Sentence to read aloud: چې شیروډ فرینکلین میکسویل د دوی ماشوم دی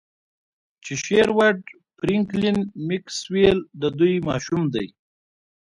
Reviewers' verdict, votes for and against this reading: accepted, 2, 1